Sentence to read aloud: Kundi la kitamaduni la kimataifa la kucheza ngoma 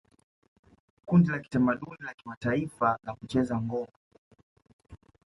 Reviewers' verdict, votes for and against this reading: rejected, 0, 2